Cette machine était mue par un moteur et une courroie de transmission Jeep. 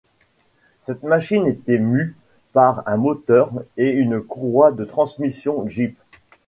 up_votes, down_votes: 2, 0